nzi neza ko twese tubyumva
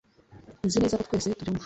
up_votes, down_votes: 1, 2